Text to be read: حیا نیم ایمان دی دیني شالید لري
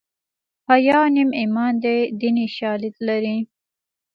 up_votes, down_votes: 2, 0